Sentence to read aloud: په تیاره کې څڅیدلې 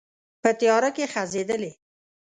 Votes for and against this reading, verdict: 1, 2, rejected